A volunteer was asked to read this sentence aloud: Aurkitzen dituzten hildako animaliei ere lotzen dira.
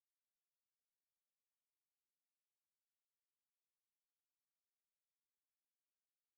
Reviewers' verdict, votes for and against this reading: rejected, 0, 2